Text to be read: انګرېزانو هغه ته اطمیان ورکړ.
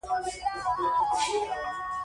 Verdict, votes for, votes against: accepted, 2, 1